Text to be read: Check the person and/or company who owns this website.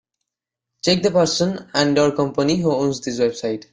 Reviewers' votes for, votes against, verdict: 0, 2, rejected